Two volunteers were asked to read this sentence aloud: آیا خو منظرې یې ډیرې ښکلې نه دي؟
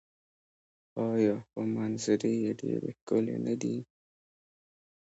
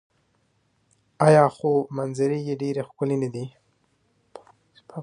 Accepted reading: second